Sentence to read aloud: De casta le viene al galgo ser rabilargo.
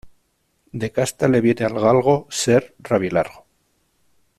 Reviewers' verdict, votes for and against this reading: accepted, 2, 0